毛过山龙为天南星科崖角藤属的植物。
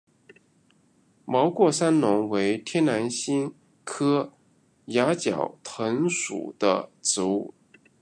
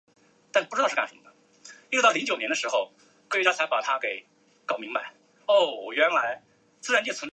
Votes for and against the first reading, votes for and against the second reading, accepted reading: 2, 0, 0, 2, first